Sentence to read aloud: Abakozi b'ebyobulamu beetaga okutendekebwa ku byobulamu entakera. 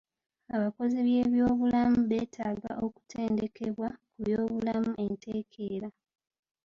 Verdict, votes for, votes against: rejected, 0, 2